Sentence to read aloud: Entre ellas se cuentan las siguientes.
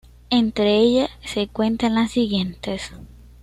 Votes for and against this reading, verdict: 2, 0, accepted